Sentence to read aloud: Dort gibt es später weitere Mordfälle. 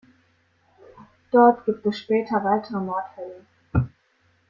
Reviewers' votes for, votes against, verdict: 0, 2, rejected